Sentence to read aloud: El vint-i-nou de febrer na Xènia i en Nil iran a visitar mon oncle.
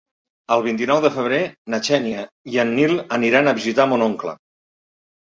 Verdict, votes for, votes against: rejected, 0, 2